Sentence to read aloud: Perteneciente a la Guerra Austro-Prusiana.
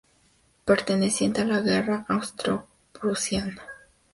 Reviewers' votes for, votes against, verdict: 2, 0, accepted